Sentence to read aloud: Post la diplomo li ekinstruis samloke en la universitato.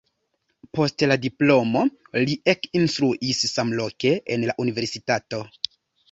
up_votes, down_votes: 1, 2